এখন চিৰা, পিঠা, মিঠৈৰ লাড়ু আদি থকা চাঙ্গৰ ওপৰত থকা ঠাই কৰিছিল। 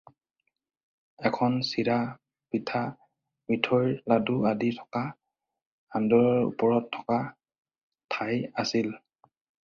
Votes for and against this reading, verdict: 0, 4, rejected